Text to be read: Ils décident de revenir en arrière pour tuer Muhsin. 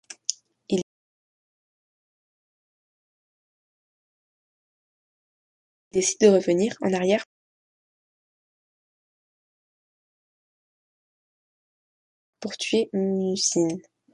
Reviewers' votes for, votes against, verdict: 0, 2, rejected